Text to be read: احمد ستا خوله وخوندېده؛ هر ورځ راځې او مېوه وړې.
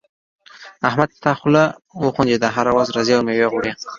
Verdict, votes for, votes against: rejected, 0, 2